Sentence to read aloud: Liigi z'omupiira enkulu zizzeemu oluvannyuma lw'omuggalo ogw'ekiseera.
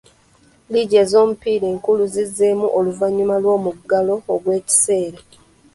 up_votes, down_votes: 0, 2